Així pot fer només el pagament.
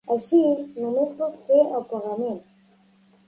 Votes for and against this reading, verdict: 1, 2, rejected